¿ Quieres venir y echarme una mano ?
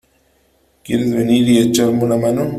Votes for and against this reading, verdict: 3, 0, accepted